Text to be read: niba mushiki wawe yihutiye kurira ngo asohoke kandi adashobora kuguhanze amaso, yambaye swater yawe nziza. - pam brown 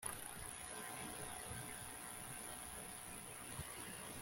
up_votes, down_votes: 0, 2